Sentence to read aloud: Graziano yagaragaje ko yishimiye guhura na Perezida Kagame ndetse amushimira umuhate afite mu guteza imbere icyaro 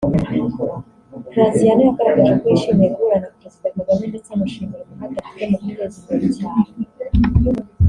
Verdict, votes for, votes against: rejected, 1, 2